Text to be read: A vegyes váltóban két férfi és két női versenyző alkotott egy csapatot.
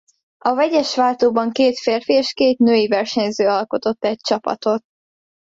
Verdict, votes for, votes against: accepted, 2, 0